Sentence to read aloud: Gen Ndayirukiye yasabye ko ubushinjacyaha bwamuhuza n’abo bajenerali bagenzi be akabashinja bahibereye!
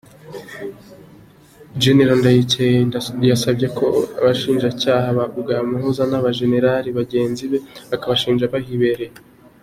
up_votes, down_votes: 2, 0